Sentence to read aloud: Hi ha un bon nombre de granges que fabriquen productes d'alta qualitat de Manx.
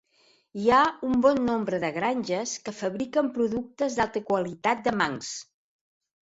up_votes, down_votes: 2, 1